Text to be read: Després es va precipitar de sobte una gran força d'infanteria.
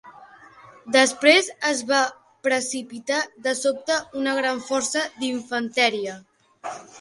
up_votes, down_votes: 1, 2